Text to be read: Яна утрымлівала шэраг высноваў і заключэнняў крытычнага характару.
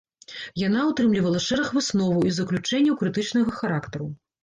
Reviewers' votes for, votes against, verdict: 2, 0, accepted